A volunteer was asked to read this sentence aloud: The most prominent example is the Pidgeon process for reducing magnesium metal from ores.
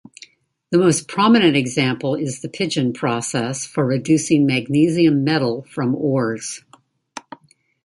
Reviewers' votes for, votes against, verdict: 2, 0, accepted